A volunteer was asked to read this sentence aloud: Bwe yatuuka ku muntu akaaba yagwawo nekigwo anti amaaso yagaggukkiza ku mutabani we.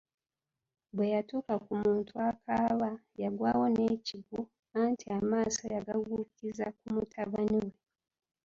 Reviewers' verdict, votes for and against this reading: accepted, 3, 1